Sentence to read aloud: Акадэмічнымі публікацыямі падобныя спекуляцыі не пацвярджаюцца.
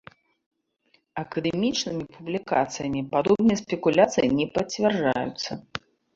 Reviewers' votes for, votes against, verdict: 1, 2, rejected